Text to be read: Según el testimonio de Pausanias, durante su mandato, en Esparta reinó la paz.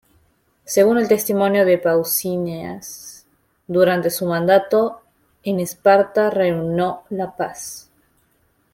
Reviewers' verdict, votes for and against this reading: rejected, 0, 2